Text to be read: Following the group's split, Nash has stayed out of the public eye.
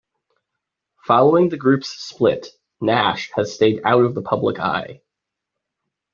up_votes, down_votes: 2, 0